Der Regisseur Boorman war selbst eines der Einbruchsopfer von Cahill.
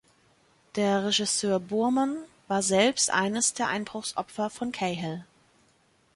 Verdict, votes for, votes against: accepted, 2, 0